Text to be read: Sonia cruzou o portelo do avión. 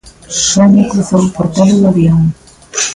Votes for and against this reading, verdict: 0, 2, rejected